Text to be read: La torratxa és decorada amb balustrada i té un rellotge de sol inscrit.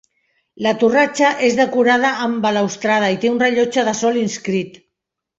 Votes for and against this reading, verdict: 0, 2, rejected